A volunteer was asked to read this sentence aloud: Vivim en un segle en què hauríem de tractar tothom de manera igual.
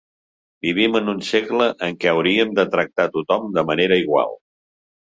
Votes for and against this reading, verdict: 3, 0, accepted